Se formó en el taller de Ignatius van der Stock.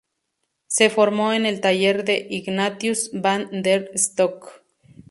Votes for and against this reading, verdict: 0, 2, rejected